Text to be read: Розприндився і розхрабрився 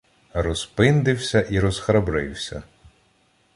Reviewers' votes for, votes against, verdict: 1, 2, rejected